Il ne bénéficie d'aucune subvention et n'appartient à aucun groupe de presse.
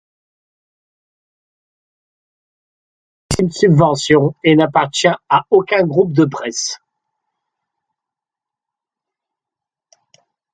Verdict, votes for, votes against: rejected, 0, 2